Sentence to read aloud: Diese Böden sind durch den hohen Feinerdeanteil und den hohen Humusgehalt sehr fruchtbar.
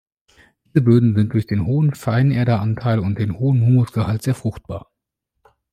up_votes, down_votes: 1, 2